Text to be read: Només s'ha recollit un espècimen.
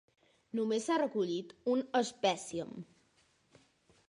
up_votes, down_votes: 1, 3